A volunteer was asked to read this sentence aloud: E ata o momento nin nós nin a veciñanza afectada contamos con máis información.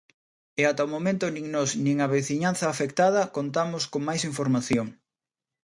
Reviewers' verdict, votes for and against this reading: accepted, 2, 0